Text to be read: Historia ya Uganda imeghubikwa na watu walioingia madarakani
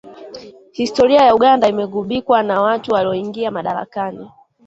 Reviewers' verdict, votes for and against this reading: rejected, 1, 2